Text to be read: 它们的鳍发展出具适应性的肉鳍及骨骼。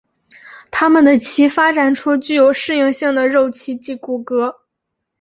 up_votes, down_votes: 2, 0